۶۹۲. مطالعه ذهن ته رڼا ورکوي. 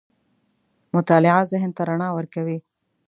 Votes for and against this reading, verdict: 0, 2, rejected